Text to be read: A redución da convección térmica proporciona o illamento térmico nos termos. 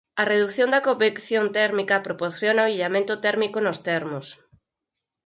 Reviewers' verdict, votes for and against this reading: accepted, 4, 2